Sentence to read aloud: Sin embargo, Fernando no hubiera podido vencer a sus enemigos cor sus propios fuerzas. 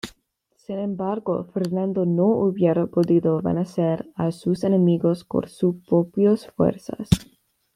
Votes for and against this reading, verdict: 1, 2, rejected